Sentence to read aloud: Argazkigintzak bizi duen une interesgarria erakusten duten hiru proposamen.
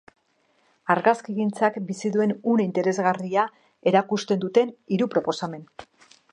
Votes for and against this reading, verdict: 2, 0, accepted